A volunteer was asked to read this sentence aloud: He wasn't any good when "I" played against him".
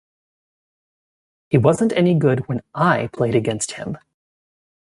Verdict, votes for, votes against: accepted, 2, 0